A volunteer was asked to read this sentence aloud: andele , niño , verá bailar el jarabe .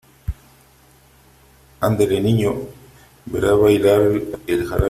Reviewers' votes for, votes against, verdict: 1, 3, rejected